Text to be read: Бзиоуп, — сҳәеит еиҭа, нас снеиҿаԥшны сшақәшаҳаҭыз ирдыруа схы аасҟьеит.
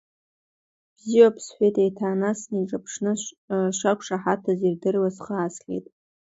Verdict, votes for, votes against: rejected, 1, 2